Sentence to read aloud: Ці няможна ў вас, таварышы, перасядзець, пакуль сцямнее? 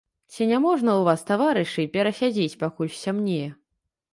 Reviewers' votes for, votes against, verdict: 2, 0, accepted